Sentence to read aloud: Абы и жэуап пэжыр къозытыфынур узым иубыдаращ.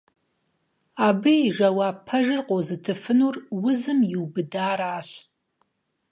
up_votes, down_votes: 4, 0